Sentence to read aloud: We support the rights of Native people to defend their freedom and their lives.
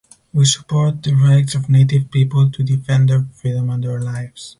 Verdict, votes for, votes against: accepted, 4, 0